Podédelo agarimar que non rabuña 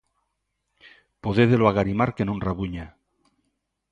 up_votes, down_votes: 2, 0